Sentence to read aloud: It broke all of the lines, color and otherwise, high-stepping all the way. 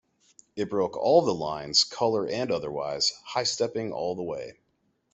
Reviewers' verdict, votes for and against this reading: rejected, 1, 2